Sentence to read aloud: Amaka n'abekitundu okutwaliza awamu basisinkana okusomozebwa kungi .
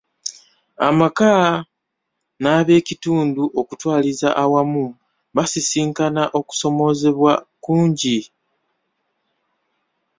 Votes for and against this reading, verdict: 2, 0, accepted